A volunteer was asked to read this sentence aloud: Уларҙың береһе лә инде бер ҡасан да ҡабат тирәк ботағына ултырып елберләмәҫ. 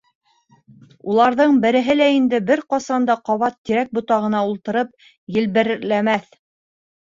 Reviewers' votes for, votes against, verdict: 0, 3, rejected